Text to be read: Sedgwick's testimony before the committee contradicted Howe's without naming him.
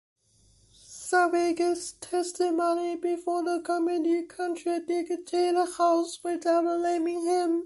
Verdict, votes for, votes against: rejected, 0, 2